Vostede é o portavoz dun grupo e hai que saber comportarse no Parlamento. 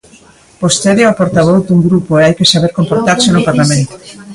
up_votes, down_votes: 1, 2